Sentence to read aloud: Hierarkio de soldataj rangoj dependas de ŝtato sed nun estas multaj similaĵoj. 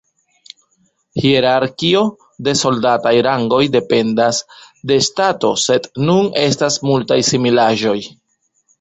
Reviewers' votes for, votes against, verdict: 1, 2, rejected